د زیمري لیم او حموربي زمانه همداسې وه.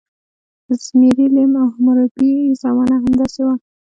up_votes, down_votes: 2, 0